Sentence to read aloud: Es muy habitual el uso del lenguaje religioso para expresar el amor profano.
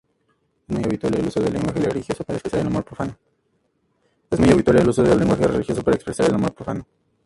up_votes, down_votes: 2, 0